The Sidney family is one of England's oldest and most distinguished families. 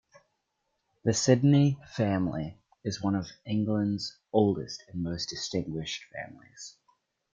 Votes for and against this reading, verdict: 2, 0, accepted